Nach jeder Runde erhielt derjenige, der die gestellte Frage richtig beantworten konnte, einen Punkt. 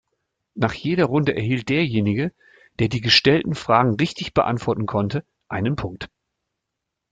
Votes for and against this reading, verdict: 0, 2, rejected